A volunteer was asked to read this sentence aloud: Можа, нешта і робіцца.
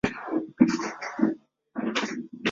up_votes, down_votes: 0, 2